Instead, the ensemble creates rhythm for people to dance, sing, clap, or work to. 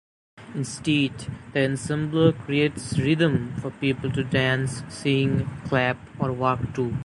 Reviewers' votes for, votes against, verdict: 1, 2, rejected